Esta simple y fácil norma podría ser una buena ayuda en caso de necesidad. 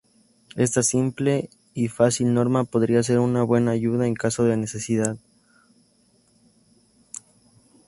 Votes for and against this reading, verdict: 2, 0, accepted